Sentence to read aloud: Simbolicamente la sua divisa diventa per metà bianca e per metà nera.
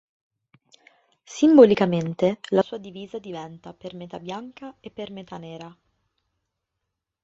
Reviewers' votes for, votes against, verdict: 2, 1, accepted